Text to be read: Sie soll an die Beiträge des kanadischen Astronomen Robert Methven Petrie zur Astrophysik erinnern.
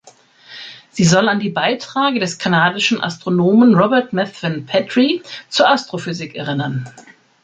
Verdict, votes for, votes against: rejected, 0, 2